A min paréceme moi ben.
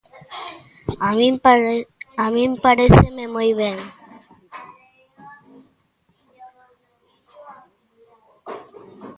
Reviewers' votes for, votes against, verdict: 0, 2, rejected